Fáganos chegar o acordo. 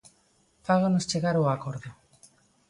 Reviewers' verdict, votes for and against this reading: accepted, 2, 0